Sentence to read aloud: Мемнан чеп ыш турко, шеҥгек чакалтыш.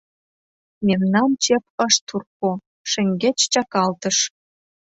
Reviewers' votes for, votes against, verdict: 1, 2, rejected